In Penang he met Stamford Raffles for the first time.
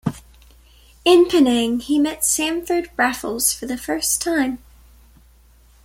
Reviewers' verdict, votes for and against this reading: accepted, 2, 0